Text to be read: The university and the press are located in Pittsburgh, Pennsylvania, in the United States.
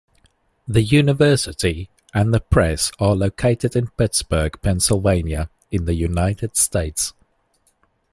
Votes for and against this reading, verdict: 2, 0, accepted